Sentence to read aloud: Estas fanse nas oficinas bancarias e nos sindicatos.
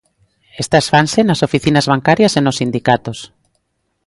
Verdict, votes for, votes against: accepted, 2, 0